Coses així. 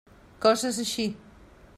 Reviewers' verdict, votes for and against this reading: accepted, 2, 0